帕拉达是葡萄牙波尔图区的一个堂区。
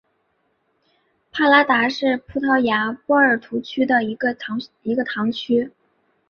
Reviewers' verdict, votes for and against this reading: rejected, 0, 2